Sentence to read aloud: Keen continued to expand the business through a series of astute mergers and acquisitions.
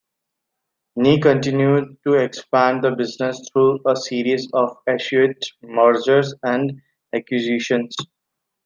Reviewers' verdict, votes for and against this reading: rejected, 1, 2